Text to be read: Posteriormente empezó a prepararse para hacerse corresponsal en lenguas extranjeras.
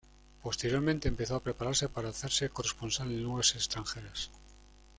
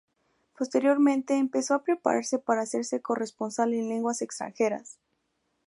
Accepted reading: second